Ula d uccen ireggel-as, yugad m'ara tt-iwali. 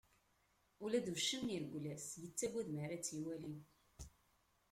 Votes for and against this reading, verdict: 2, 1, accepted